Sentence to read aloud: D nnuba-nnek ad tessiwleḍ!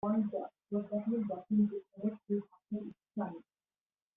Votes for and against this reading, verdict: 0, 2, rejected